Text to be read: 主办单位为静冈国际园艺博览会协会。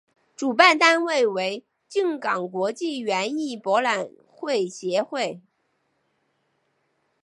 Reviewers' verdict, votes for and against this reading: accepted, 2, 1